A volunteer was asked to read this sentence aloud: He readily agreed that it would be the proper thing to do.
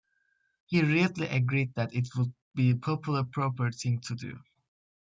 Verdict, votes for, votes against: rejected, 0, 2